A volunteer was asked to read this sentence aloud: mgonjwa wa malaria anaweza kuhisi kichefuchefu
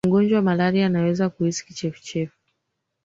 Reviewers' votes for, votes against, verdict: 3, 2, accepted